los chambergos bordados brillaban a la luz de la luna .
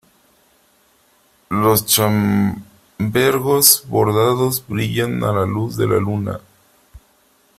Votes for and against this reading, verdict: 0, 3, rejected